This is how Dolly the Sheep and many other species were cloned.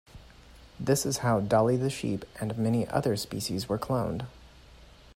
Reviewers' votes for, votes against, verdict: 2, 0, accepted